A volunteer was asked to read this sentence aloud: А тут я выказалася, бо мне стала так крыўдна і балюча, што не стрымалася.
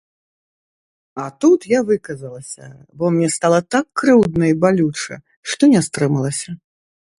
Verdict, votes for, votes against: rejected, 0, 2